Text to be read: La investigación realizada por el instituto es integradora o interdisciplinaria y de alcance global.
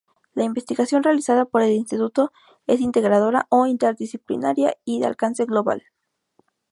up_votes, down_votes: 2, 0